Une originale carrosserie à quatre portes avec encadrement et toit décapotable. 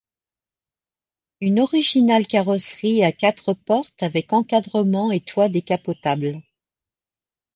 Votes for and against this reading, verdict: 2, 0, accepted